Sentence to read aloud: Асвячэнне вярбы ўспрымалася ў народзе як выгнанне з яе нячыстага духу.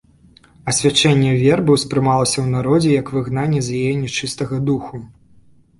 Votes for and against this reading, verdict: 1, 2, rejected